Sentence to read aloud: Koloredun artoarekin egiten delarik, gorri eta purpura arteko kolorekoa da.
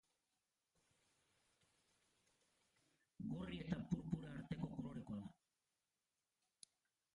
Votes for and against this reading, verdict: 0, 2, rejected